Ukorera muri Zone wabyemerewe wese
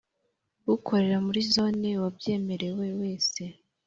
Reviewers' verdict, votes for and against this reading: accepted, 3, 0